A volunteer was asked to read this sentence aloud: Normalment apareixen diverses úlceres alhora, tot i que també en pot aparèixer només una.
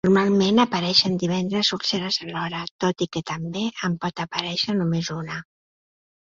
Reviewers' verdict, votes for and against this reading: accepted, 2, 0